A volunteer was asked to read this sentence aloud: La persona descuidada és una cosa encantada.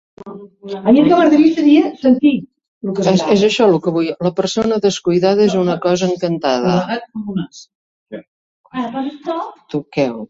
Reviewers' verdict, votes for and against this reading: rejected, 0, 2